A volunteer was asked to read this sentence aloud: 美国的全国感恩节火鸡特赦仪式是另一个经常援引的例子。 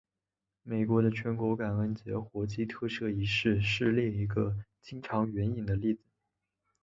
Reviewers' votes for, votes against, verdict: 3, 1, accepted